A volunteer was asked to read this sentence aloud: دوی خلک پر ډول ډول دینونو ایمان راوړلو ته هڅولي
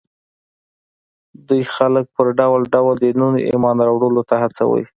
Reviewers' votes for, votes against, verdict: 0, 2, rejected